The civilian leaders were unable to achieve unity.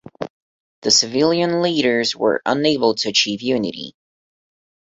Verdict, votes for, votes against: accepted, 2, 0